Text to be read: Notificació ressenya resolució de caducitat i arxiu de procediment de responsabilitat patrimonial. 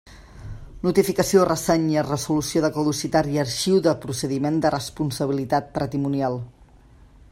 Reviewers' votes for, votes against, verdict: 0, 2, rejected